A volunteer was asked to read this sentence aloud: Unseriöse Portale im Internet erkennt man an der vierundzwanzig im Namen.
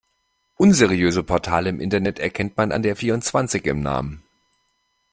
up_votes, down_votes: 2, 0